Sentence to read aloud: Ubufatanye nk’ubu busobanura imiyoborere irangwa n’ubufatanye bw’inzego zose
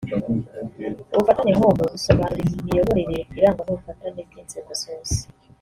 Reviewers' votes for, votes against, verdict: 2, 3, rejected